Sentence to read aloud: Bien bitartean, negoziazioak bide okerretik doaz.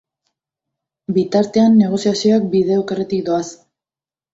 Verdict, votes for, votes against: rejected, 1, 2